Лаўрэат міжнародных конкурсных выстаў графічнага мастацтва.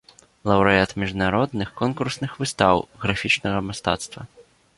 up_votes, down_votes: 2, 0